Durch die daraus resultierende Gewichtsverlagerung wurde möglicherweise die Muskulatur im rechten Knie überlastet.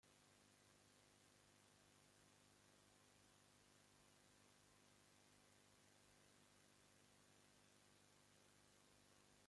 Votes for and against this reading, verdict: 0, 2, rejected